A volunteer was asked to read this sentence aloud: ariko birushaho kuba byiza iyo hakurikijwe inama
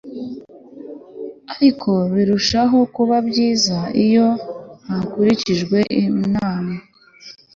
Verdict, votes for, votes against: accepted, 2, 0